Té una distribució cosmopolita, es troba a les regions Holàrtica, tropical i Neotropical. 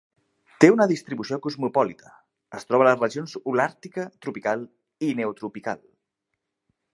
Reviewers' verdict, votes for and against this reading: accepted, 2, 0